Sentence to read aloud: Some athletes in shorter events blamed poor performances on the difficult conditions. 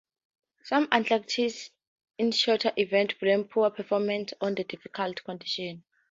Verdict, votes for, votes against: rejected, 0, 4